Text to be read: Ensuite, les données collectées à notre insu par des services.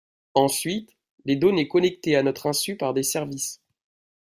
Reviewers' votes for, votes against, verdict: 0, 2, rejected